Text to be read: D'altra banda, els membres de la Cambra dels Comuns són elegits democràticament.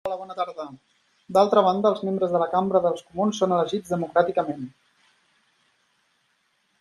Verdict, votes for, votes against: rejected, 0, 2